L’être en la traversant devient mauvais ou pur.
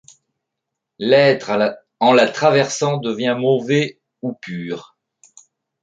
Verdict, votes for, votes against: rejected, 1, 2